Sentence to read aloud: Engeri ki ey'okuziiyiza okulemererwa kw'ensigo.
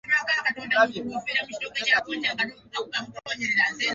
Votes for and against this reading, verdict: 0, 2, rejected